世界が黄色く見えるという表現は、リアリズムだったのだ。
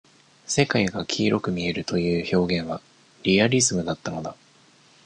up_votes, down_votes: 1, 2